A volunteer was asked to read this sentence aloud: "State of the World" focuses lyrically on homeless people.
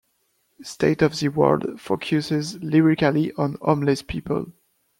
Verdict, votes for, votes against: accepted, 2, 0